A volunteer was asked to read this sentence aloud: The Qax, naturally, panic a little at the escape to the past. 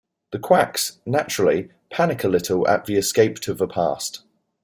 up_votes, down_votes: 2, 0